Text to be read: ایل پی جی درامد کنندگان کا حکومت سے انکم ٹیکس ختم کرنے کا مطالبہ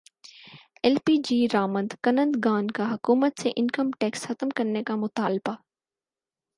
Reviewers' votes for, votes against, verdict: 6, 0, accepted